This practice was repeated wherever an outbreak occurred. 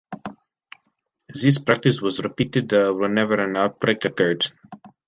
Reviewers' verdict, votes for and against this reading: rejected, 1, 2